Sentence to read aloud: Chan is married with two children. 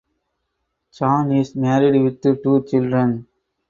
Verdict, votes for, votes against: rejected, 0, 4